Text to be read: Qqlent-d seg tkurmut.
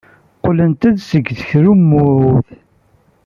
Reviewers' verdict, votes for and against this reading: rejected, 0, 2